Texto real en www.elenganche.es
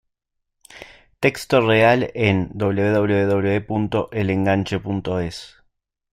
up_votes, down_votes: 2, 0